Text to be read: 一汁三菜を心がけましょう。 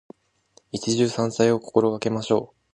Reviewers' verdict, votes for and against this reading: accepted, 2, 0